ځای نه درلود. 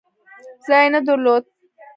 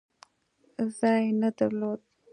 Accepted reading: second